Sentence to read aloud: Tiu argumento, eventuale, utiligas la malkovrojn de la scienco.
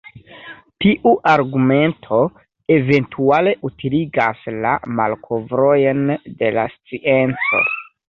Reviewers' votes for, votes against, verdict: 1, 2, rejected